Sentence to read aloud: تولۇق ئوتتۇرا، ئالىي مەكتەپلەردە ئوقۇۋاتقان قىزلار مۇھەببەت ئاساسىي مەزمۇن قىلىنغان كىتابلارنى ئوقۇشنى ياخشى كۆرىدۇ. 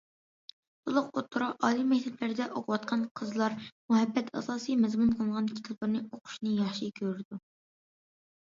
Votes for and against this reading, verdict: 2, 0, accepted